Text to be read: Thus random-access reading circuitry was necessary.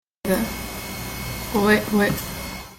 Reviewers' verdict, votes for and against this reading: rejected, 0, 2